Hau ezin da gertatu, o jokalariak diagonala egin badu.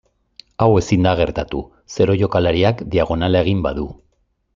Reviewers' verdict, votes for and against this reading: rejected, 1, 2